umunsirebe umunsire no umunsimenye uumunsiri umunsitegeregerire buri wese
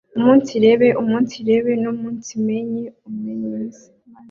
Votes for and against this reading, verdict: 1, 2, rejected